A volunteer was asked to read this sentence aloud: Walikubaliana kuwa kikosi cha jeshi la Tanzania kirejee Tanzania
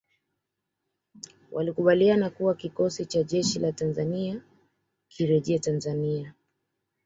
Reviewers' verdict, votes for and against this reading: accepted, 2, 0